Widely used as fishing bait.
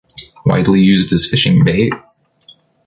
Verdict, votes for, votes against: accepted, 2, 1